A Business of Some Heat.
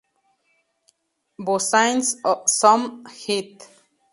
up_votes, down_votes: 0, 4